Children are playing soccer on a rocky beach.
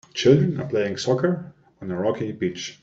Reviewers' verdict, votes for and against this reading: accepted, 2, 0